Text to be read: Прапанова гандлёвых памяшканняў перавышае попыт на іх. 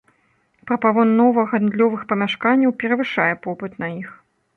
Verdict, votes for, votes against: rejected, 0, 2